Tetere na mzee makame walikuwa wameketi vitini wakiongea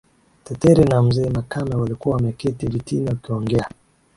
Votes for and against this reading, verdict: 3, 0, accepted